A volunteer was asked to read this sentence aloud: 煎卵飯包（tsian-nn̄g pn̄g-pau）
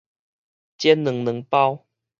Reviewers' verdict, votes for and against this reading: rejected, 2, 2